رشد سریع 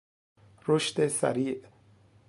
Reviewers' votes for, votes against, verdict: 2, 1, accepted